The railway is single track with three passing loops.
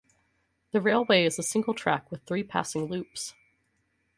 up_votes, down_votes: 4, 0